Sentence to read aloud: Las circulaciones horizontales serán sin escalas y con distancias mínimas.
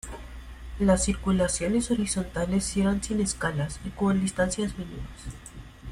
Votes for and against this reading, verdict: 0, 2, rejected